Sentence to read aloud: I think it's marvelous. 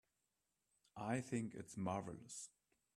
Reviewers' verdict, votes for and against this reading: rejected, 1, 2